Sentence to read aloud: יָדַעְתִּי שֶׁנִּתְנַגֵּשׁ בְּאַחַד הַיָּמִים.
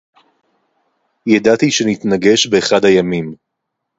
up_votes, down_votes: 4, 0